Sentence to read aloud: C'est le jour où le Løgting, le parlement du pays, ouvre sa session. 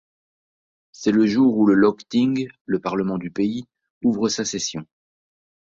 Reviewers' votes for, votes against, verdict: 2, 0, accepted